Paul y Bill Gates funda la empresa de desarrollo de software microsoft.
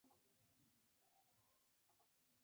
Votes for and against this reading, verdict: 0, 2, rejected